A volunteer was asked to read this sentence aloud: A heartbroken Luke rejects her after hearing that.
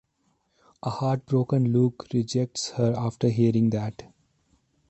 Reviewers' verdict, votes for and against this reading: accepted, 2, 0